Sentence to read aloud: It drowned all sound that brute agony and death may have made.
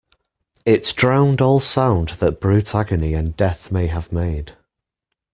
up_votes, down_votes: 1, 2